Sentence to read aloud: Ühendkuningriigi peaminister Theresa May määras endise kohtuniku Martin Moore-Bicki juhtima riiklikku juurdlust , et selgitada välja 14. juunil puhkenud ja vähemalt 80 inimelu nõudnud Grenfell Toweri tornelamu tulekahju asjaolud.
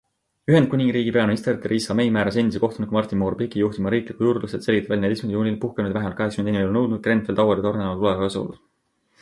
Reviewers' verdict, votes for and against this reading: rejected, 0, 2